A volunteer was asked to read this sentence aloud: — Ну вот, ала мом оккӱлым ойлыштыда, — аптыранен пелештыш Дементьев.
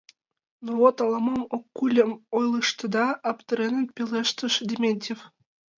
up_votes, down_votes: 1, 2